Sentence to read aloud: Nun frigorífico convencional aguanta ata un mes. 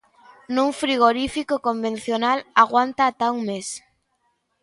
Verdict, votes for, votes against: accepted, 2, 0